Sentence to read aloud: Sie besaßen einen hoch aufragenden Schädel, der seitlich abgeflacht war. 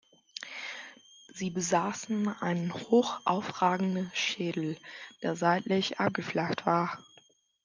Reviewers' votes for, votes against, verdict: 2, 0, accepted